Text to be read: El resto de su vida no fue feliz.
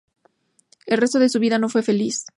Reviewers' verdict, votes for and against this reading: accepted, 2, 0